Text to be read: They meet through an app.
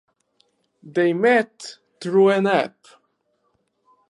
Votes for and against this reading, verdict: 2, 6, rejected